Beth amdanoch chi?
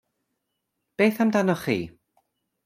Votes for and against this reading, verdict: 2, 0, accepted